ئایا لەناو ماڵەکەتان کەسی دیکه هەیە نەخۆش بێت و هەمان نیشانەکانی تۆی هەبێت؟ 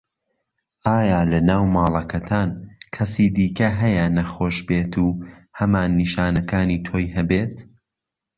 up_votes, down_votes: 2, 0